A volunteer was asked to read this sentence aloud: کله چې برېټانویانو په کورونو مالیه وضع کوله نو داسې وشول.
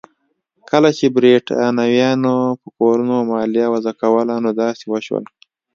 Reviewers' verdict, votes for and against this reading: accepted, 2, 0